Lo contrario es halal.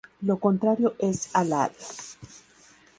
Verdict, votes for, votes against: accepted, 2, 0